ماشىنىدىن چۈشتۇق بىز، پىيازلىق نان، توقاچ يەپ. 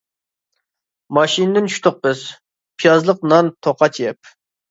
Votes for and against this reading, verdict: 2, 0, accepted